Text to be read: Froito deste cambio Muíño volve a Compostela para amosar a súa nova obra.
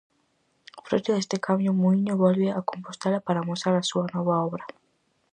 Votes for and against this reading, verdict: 4, 0, accepted